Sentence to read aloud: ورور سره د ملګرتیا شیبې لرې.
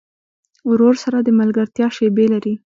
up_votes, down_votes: 2, 0